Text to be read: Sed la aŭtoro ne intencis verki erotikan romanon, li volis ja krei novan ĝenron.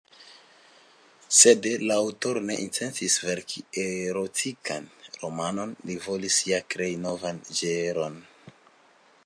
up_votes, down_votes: 3, 2